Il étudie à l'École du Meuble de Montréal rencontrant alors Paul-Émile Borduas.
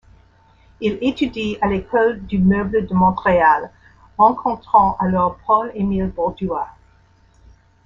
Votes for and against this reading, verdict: 2, 0, accepted